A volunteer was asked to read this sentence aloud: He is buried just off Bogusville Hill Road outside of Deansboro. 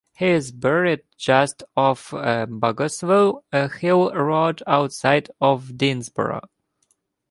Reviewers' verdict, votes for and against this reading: rejected, 1, 2